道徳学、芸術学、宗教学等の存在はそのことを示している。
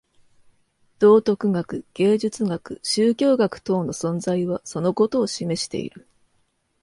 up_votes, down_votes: 2, 0